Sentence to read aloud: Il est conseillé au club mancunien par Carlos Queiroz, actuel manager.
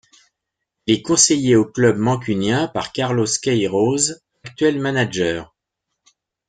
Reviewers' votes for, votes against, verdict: 1, 2, rejected